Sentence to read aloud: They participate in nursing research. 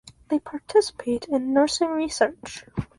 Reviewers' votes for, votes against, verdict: 2, 0, accepted